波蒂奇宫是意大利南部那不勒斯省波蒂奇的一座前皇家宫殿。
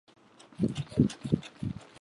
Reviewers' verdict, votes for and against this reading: rejected, 0, 2